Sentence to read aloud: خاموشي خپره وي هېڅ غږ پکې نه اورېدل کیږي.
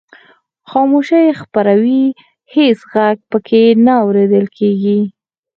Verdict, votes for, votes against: rejected, 2, 4